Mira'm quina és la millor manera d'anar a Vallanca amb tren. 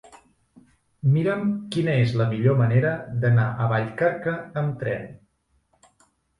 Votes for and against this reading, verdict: 0, 3, rejected